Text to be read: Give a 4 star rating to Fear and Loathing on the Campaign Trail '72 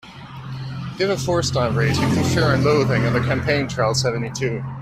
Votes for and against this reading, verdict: 0, 2, rejected